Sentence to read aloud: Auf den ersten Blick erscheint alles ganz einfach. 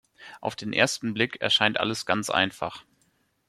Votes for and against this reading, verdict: 2, 0, accepted